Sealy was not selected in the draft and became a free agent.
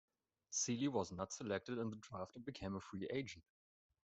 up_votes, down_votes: 2, 0